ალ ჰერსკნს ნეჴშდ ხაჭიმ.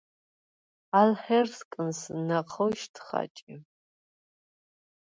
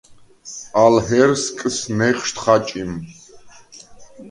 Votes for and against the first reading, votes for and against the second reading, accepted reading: 0, 4, 2, 0, second